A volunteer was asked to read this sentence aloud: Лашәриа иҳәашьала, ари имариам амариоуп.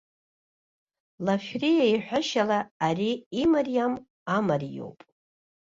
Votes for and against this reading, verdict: 2, 0, accepted